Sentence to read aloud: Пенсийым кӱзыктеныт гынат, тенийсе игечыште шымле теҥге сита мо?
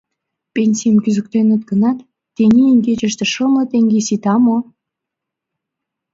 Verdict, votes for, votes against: rejected, 1, 2